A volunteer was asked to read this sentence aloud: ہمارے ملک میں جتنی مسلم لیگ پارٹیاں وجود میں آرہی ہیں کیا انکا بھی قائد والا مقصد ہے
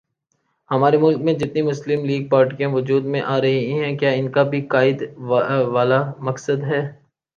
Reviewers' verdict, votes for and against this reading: rejected, 1, 2